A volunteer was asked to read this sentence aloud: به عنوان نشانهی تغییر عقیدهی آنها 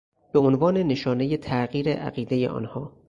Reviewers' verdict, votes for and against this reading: accepted, 6, 0